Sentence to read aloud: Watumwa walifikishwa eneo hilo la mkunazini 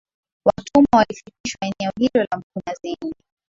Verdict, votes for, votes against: accepted, 12, 0